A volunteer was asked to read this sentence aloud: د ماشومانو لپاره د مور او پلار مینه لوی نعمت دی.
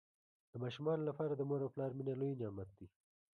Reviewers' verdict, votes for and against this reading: rejected, 0, 2